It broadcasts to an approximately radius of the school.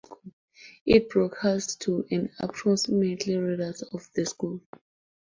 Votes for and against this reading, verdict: 0, 2, rejected